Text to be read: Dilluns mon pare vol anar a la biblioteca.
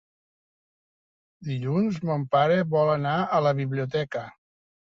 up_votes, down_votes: 3, 0